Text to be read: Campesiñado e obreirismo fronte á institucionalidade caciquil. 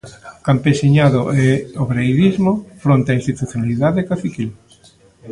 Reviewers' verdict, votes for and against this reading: rejected, 1, 2